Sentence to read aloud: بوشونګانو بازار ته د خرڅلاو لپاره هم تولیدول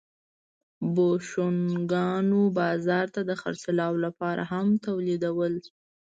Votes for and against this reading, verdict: 2, 0, accepted